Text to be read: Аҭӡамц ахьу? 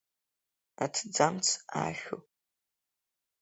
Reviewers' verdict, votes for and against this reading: accepted, 2, 0